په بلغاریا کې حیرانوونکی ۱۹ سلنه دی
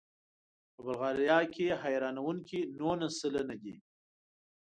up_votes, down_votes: 0, 2